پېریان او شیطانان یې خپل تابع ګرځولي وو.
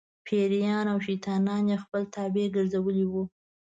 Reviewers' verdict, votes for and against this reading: rejected, 1, 2